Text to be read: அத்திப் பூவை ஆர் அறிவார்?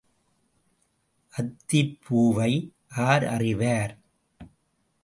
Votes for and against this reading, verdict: 0, 2, rejected